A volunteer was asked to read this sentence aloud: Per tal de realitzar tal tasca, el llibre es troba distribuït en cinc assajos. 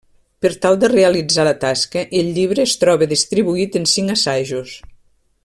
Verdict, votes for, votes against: rejected, 1, 2